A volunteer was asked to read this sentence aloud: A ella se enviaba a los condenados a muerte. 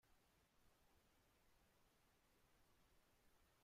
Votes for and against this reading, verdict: 0, 2, rejected